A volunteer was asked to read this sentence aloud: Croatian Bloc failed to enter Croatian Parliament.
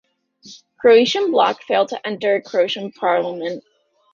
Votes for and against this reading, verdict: 1, 2, rejected